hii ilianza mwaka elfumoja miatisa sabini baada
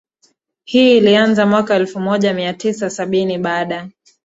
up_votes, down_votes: 2, 1